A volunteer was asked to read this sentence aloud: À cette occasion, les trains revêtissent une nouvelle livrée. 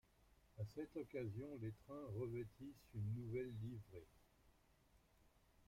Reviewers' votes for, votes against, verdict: 1, 2, rejected